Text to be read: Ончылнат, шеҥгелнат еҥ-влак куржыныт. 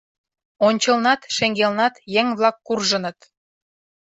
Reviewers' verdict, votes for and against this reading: accepted, 2, 0